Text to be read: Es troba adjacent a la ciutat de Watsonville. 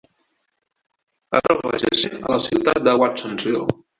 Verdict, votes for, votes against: rejected, 0, 2